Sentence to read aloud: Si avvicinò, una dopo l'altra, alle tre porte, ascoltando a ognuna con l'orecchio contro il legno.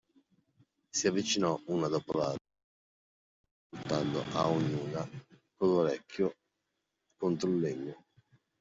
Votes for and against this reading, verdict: 2, 1, accepted